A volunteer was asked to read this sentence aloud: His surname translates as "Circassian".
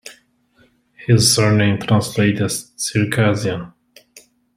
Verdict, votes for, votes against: rejected, 0, 2